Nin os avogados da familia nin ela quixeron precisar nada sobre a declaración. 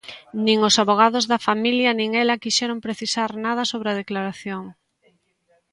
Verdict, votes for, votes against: accepted, 2, 0